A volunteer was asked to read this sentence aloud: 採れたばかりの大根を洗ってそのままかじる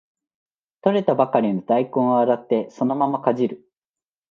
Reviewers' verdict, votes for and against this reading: accepted, 2, 0